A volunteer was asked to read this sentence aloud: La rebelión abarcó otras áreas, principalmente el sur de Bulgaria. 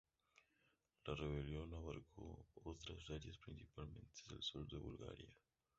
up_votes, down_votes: 0, 2